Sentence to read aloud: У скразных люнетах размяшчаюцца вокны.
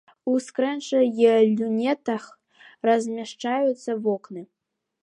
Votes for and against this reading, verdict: 0, 2, rejected